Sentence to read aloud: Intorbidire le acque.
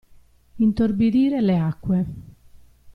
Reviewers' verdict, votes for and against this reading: accepted, 2, 0